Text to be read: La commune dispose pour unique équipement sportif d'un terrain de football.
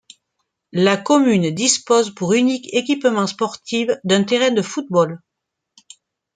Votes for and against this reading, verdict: 0, 2, rejected